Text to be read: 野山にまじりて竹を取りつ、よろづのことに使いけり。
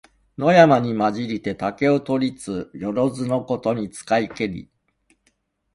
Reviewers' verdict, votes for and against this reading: accepted, 2, 0